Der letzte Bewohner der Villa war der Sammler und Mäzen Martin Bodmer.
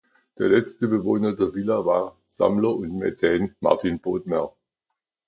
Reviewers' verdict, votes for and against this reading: rejected, 1, 2